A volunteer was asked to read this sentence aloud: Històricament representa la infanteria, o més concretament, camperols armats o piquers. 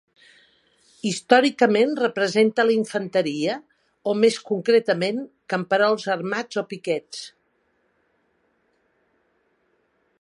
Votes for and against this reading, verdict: 2, 0, accepted